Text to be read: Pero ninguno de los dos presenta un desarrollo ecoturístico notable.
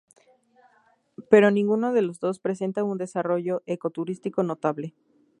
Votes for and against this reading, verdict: 2, 0, accepted